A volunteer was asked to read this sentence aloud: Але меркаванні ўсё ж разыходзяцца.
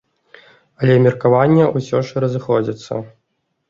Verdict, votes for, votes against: rejected, 1, 2